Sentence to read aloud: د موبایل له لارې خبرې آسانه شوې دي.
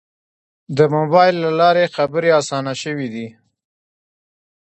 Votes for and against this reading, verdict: 2, 0, accepted